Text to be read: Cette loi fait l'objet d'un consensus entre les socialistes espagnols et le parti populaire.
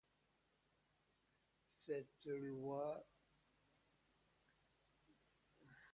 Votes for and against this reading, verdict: 0, 2, rejected